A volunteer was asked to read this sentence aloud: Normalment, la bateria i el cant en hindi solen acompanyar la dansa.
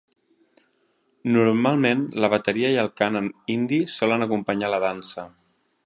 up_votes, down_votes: 2, 0